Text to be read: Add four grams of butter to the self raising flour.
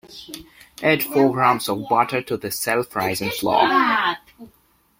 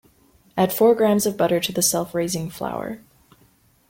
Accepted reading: second